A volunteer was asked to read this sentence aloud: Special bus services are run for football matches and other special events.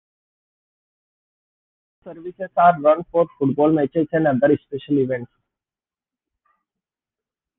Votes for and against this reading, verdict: 0, 2, rejected